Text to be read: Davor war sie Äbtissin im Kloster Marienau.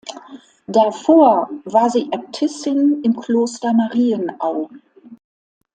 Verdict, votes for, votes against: accepted, 2, 0